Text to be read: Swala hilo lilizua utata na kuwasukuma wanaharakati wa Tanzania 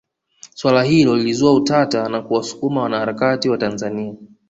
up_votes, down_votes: 2, 0